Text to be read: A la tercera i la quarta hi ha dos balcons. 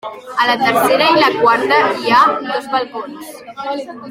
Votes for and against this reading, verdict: 0, 2, rejected